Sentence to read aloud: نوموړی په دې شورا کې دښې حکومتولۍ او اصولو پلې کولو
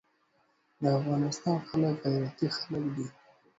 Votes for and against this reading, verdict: 0, 2, rejected